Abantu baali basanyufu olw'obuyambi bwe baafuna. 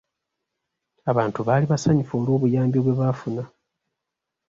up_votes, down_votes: 2, 0